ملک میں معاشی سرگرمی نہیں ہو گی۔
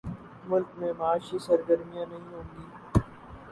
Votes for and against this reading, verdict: 0, 2, rejected